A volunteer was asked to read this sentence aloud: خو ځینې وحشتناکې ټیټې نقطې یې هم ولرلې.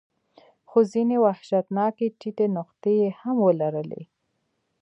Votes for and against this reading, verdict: 2, 0, accepted